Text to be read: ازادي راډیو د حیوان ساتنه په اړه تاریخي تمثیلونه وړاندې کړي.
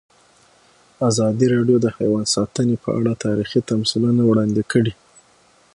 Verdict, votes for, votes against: accepted, 6, 0